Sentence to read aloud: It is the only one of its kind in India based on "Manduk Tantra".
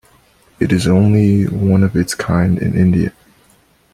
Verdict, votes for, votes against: rejected, 1, 2